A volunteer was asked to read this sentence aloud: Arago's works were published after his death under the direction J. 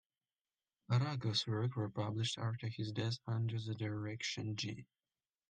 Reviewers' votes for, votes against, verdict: 1, 2, rejected